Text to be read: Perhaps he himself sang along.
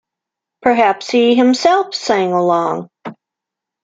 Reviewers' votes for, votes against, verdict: 2, 0, accepted